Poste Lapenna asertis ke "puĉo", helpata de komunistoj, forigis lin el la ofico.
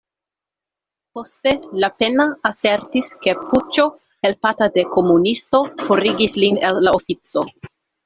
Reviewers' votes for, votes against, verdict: 1, 2, rejected